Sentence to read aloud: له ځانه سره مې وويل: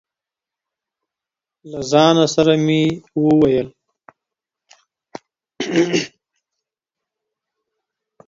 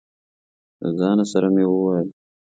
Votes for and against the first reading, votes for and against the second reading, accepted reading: 1, 2, 2, 0, second